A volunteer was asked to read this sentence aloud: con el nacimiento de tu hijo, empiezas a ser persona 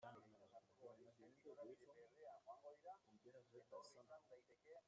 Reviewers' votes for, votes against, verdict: 0, 2, rejected